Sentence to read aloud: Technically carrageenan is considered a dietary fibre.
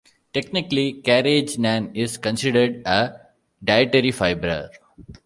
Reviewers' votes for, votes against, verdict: 1, 2, rejected